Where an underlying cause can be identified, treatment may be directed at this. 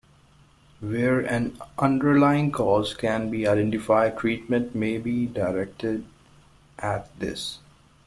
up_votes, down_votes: 1, 2